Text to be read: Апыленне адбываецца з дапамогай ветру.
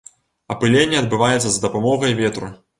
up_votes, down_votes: 3, 0